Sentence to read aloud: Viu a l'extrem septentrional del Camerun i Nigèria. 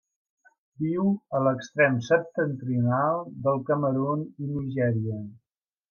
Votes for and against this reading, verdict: 2, 0, accepted